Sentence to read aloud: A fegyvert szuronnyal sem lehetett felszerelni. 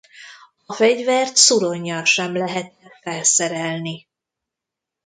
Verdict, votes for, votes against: rejected, 0, 2